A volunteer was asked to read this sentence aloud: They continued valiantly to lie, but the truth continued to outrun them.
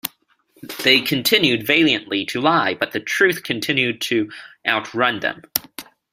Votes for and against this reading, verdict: 2, 1, accepted